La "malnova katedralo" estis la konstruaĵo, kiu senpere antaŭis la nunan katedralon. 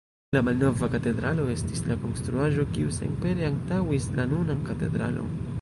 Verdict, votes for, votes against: rejected, 1, 2